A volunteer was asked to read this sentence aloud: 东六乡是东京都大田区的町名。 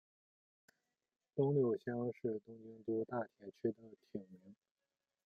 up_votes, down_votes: 1, 2